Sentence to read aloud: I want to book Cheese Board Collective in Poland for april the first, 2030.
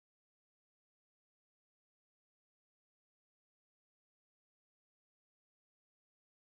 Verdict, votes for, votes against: rejected, 0, 2